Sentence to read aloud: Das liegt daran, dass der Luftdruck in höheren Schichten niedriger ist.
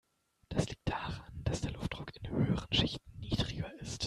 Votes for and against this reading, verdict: 1, 2, rejected